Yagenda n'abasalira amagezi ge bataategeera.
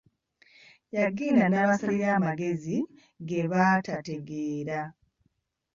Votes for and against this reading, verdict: 0, 2, rejected